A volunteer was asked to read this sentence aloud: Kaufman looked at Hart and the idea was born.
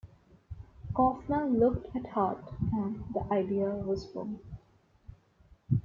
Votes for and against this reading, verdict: 2, 1, accepted